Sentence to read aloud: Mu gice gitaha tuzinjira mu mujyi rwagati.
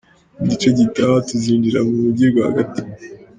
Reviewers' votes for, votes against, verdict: 2, 0, accepted